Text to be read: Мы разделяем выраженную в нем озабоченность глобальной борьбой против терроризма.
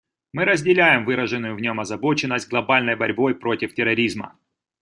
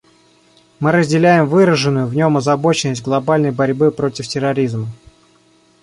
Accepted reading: first